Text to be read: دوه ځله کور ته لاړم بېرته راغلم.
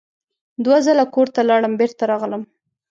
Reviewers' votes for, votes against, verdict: 2, 0, accepted